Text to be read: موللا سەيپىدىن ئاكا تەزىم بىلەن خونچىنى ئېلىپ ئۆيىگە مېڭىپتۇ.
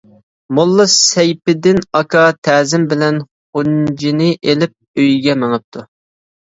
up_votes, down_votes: 0, 2